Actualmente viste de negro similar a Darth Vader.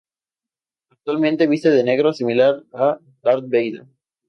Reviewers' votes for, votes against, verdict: 2, 0, accepted